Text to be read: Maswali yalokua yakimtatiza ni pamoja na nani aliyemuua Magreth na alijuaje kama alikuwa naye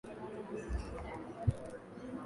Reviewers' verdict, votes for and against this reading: rejected, 0, 11